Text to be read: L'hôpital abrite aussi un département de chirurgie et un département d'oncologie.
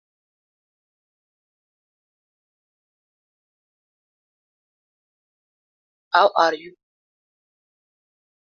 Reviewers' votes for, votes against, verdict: 0, 2, rejected